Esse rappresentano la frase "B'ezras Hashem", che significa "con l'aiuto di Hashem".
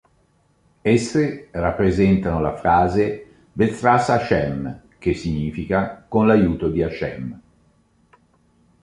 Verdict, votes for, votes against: accepted, 2, 0